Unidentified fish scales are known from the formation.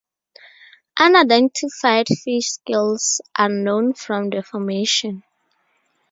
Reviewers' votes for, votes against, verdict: 2, 0, accepted